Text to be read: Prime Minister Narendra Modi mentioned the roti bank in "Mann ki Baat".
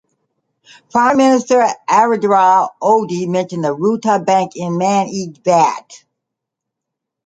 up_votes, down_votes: 1, 2